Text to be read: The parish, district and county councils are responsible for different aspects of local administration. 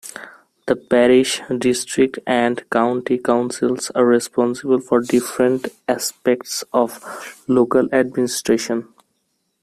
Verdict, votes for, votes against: rejected, 1, 2